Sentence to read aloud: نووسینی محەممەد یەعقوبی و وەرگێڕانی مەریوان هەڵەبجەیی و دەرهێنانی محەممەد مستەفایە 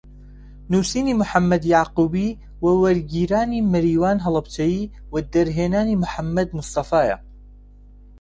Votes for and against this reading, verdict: 0, 2, rejected